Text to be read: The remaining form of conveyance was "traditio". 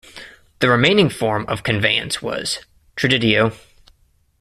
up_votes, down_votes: 2, 1